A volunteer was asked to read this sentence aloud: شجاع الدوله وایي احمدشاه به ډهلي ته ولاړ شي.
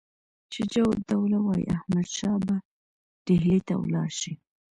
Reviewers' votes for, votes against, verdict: 2, 1, accepted